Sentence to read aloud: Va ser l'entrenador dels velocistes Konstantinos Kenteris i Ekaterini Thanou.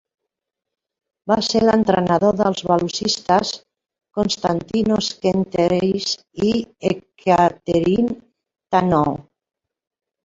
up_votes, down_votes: 2, 1